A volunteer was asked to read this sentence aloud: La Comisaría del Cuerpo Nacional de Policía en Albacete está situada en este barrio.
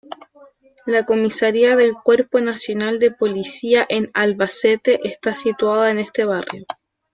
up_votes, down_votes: 0, 2